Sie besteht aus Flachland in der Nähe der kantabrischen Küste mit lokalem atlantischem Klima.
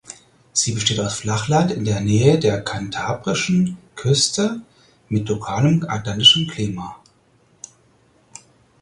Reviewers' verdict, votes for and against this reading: accepted, 4, 0